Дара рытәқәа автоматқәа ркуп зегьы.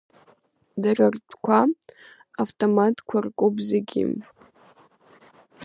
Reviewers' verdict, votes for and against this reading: accepted, 2, 1